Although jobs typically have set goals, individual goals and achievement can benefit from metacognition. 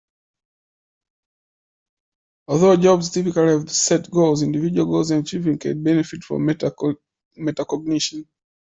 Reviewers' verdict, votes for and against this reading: accepted, 2, 1